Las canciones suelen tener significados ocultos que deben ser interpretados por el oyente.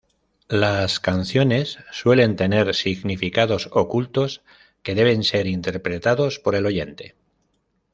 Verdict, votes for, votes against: accepted, 2, 0